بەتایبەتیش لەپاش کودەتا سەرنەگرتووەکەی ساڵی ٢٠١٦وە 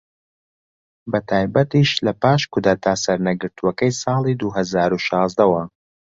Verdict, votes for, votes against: rejected, 0, 2